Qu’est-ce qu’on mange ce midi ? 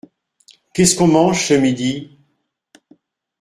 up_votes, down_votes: 2, 0